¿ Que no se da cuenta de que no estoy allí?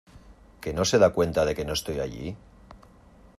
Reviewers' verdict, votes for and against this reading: accepted, 2, 0